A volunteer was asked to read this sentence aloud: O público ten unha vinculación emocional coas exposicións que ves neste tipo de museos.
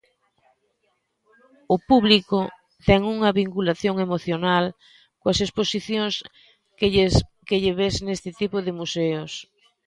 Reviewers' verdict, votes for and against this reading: rejected, 0, 2